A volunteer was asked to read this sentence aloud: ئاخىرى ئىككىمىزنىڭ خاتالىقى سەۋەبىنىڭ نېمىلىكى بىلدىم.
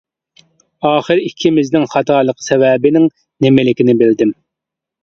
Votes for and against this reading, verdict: 2, 0, accepted